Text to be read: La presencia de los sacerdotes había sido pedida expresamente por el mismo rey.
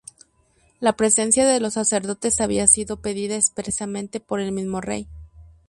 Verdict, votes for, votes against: accepted, 6, 0